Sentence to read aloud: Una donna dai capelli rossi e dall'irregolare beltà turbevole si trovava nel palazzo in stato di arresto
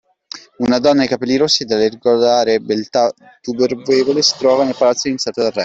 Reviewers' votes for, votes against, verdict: 0, 2, rejected